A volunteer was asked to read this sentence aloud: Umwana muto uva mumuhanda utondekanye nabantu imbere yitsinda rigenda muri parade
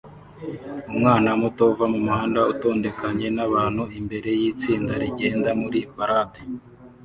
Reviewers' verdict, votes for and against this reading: accepted, 2, 0